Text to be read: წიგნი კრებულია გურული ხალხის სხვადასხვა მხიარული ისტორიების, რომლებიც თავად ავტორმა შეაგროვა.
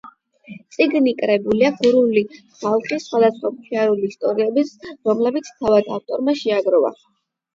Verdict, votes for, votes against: rejected, 0, 8